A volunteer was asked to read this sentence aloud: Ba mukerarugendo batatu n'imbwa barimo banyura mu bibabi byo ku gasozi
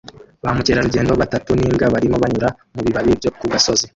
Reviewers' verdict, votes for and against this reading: rejected, 0, 2